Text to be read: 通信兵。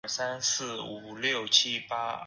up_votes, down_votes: 1, 2